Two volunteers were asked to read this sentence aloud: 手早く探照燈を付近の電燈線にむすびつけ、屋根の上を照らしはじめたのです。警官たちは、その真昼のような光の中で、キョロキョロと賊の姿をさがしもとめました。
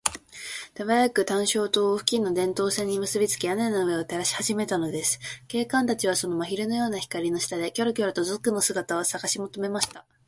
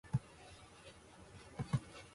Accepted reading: first